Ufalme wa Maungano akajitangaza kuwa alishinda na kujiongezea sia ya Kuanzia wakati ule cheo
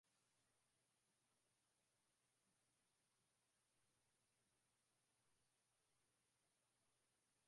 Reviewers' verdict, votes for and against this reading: rejected, 0, 4